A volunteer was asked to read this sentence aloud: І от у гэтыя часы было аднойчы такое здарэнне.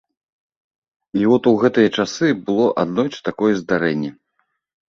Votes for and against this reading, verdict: 4, 0, accepted